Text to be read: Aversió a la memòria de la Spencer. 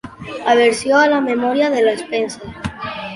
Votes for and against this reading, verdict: 0, 2, rejected